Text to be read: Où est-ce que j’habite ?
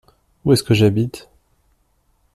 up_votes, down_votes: 2, 0